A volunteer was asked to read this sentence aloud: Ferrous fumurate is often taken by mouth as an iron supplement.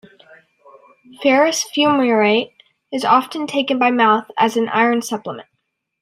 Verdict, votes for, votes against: rejected, 1, 2